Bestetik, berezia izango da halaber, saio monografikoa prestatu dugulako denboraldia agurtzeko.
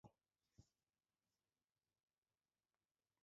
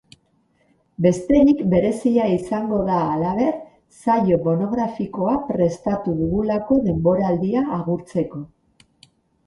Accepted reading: second